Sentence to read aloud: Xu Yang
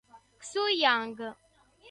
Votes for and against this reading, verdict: 2, 0, accepted